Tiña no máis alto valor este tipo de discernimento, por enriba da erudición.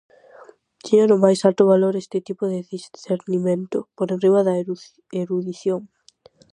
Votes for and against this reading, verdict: 0, 4, rejected